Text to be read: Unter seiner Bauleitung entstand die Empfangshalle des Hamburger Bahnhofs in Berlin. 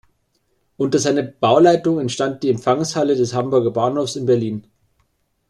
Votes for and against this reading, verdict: 2, 0, accepted